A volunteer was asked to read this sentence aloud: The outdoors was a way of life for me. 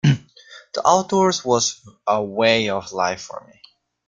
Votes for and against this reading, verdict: 2, 0, accepted